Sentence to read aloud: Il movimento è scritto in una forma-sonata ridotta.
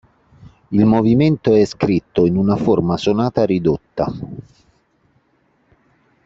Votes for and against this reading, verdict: 2, 0, accepted